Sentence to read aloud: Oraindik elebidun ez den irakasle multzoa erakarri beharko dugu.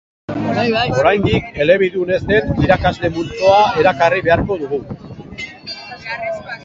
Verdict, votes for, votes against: rejected, 0, 2